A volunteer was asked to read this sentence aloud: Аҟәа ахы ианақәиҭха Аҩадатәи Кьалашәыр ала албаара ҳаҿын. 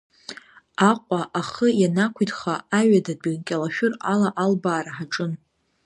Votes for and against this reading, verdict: 2, 0, accepted